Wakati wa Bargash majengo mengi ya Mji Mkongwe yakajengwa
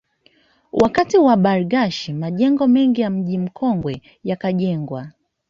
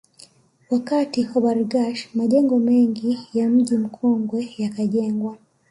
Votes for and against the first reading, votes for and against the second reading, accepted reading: 0, 2, 3, 0, second